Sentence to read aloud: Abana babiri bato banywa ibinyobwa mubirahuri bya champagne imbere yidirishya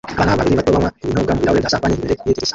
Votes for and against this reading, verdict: 0, 2, rejected